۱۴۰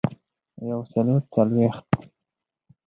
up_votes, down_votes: 0, 2